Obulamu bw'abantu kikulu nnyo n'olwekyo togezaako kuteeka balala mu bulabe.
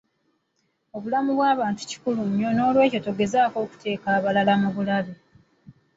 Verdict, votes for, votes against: rejected, 0, 2